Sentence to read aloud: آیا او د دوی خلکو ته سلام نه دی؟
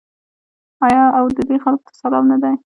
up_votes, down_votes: 0, 2